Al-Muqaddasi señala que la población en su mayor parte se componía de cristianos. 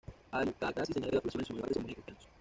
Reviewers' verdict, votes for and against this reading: rejected, 1, 2